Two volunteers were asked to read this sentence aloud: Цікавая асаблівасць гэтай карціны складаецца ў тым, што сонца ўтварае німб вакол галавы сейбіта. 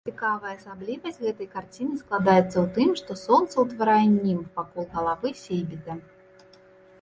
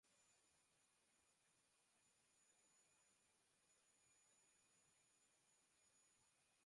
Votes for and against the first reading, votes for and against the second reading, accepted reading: 2, 0, 1, 2, first